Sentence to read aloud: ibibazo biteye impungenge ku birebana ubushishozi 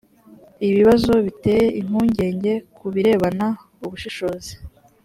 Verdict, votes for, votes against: accepted, 4, 0